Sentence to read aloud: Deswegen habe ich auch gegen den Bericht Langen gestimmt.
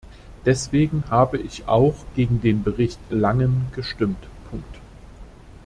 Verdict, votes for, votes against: rejected, 1, 2